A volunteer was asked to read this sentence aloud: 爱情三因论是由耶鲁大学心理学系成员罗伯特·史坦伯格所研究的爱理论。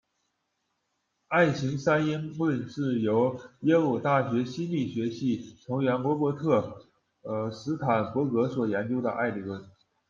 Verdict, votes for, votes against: rejected, 1, 2